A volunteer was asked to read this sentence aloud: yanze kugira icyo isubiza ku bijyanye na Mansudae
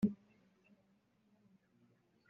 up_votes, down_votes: 0, 2